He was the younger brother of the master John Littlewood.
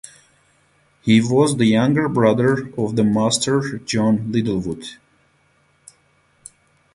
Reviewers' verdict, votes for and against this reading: accepted, 4, 0